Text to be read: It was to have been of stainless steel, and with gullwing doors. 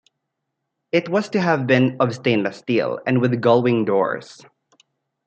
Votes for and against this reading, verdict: 2, 0, accepted